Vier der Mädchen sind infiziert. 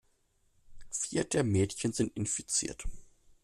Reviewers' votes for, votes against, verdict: 2, 0, accepted